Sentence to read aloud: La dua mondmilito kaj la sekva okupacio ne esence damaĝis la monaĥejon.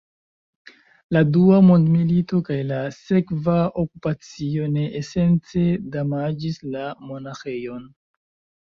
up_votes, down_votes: 0, 2